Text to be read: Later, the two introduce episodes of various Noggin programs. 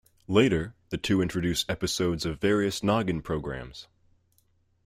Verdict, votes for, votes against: rejected, 1, 2